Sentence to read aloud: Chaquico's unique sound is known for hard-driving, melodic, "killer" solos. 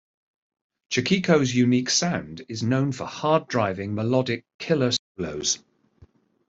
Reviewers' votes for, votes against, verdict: 1, 2, rejected